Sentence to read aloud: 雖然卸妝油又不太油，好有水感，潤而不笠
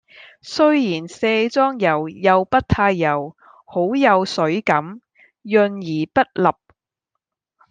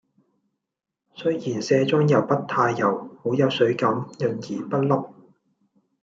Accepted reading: first